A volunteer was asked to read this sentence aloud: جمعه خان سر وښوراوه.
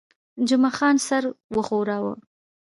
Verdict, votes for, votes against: accepted, 2, 1